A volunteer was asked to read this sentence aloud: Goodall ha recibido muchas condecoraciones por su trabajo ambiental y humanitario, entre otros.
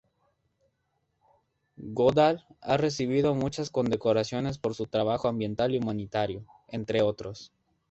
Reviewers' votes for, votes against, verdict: 0, 2, rejected